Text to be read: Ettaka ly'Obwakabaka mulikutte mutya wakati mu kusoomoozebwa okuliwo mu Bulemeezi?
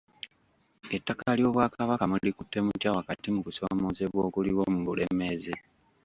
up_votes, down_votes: 1, 2